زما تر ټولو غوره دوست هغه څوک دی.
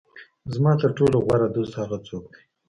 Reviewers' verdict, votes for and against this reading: rejected, 1, 2